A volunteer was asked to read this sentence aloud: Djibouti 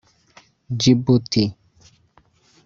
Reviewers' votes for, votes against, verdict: 1, 2, rejected